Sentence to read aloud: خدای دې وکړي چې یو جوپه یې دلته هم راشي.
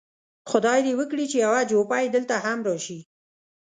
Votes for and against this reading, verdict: 2, 0, accepted